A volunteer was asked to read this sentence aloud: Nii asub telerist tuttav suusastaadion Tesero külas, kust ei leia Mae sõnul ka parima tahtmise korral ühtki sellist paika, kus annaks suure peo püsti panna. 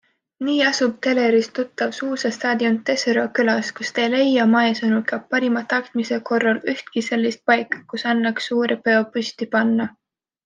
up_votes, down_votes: 2, 0